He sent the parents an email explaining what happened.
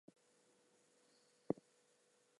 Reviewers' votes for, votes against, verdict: 0, 2, rejected